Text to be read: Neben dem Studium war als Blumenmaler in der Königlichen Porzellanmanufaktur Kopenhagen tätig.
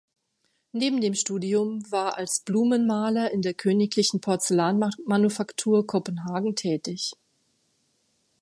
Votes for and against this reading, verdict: 0, 2, rejected